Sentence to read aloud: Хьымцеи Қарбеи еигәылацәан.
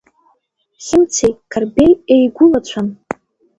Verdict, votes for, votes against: rejected, 0, 2